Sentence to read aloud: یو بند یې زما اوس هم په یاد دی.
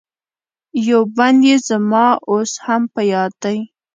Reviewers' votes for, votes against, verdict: 1, 2, rejected